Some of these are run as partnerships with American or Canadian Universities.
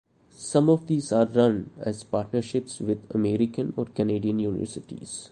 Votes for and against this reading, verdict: 2, 0, accepted